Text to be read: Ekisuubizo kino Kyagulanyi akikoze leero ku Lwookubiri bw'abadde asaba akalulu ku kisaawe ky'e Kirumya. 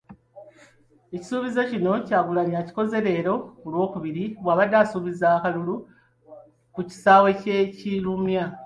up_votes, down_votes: 2, 0